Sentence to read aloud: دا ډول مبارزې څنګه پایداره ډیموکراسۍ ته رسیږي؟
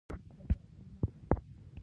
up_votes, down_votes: 1, 2